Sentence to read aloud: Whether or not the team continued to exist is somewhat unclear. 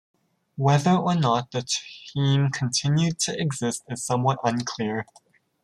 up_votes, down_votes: 2, 1